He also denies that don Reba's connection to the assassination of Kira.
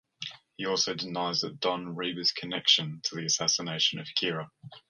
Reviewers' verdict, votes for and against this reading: accepted, 2, 0